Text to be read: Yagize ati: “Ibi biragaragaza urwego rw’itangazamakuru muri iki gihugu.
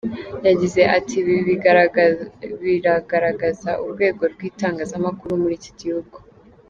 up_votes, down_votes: 0, 2